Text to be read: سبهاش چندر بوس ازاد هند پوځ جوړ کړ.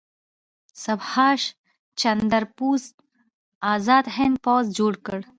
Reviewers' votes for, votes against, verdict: 1, 2, rejected